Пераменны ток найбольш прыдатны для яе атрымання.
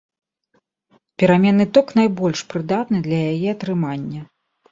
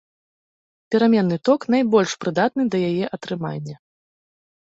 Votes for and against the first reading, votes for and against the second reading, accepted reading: 2, 0, 0, 2, first